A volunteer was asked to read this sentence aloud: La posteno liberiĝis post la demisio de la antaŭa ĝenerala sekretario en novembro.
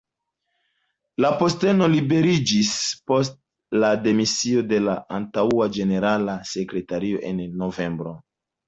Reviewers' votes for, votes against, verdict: 2, 0, accepted